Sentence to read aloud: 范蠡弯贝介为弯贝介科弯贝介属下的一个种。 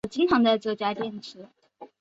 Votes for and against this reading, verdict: 2, 5, rejected